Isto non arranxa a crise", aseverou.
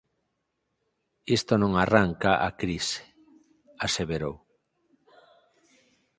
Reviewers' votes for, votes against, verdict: 0, 4, rejected